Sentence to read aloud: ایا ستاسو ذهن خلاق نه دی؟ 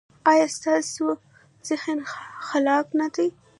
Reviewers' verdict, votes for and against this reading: rejected, 1, 2